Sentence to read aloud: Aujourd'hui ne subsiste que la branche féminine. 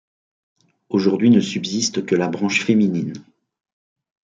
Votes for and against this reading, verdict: 3, 0, accepted